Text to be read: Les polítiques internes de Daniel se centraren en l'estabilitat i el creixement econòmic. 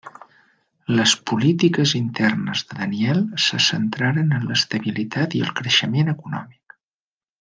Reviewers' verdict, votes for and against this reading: accepted, 3, 0